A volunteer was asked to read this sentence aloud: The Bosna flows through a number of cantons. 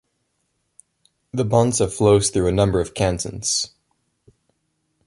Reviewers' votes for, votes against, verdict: 0, 2, rejected